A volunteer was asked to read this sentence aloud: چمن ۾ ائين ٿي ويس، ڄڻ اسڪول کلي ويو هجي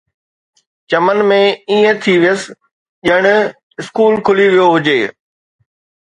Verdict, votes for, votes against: accepted, 2, 0